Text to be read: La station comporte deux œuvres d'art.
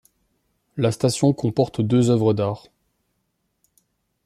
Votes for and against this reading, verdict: 2, 0, accepted